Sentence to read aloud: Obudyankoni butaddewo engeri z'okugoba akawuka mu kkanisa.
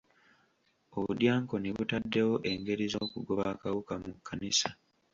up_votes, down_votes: 2, 1